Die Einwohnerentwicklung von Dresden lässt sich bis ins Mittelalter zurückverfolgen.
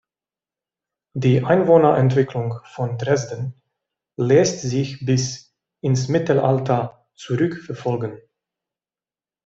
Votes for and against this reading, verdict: 2, 0, accepted